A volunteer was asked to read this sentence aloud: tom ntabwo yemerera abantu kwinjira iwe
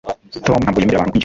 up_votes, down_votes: 1, 2